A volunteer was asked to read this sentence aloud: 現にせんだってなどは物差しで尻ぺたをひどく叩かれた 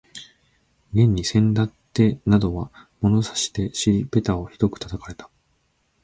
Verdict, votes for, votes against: accepted, 2, 0